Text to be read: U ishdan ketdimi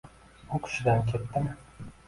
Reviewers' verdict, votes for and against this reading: rejected, 1, 2